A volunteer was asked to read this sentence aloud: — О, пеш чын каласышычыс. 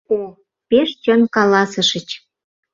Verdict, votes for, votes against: rejected, 0, 2